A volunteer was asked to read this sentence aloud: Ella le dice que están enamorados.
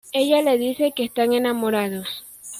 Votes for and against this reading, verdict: 2, 1, accepted